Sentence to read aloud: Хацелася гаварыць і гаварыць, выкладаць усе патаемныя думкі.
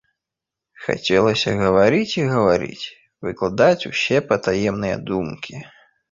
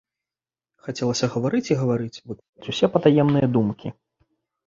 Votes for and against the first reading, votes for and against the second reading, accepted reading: 2, 0, 0, 2, first